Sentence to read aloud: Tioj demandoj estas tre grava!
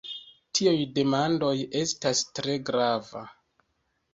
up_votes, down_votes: 0, 2